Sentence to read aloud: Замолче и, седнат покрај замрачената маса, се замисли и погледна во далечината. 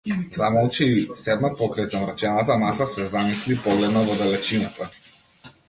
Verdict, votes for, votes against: rejected, 0, 2